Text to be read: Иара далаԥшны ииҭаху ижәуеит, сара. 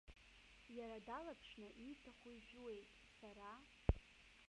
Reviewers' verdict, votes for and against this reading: rejected, 1, 2